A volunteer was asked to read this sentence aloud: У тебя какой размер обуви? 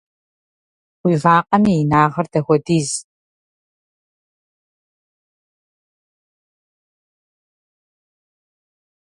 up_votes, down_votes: 0, 2